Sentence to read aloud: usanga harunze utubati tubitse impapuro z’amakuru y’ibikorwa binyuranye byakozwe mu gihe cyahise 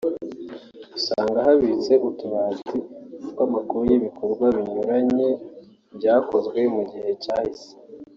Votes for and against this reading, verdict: 2, 4, rejected